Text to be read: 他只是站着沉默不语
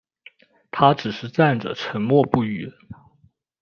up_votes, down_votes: 2, 0